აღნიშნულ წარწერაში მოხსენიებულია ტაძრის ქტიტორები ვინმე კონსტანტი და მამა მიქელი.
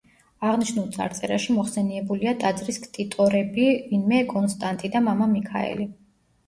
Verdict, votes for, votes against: rejected, 1, 2